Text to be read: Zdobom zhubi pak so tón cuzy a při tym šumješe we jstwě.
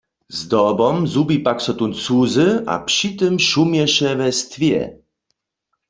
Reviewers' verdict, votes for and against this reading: accepted, 2, 0